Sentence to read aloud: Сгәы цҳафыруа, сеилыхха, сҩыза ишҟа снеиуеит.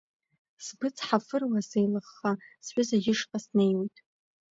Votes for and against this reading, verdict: 2, 1, accepted